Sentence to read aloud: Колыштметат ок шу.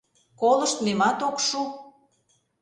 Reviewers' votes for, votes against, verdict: 1, 2, rejected